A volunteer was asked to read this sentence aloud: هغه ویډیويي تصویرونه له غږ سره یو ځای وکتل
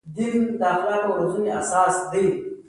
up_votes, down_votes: 2, 0